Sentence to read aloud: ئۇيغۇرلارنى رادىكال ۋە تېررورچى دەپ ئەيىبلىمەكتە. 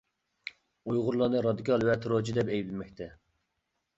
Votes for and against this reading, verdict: 2, 0, accepted